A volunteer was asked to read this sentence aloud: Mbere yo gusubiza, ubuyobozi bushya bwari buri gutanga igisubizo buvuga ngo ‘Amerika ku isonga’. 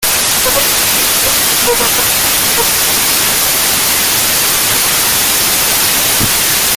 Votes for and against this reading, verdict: 0, 2, rejected